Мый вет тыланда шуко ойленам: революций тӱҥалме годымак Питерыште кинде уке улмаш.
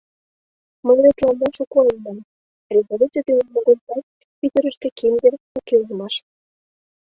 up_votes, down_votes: 1, 2